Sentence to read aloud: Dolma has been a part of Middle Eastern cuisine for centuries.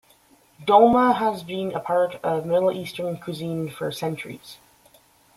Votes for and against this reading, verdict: 2, 0, accepted